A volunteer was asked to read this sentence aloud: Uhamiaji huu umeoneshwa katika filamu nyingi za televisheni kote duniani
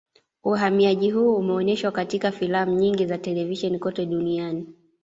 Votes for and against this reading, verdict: 2, 0, accepted